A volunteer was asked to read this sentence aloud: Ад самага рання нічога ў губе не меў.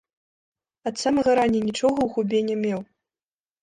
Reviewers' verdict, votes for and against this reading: rejected, 0, 2